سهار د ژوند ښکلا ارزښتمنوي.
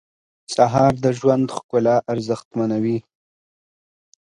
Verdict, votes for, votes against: accepted, 2, 0